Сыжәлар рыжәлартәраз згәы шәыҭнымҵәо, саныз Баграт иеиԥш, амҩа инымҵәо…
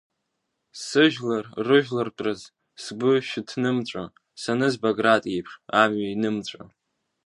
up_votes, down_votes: 2, 1